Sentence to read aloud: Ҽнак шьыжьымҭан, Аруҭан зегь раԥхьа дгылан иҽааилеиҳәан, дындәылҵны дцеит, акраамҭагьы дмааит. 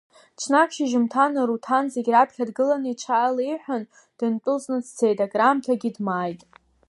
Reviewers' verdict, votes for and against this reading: accepted, 2, 0